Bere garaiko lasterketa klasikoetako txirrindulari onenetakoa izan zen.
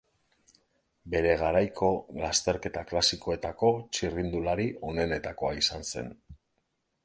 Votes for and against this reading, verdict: 2, 0, accepted